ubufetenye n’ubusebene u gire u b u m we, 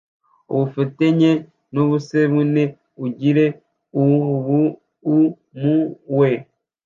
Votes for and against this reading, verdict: 0, 2, rejected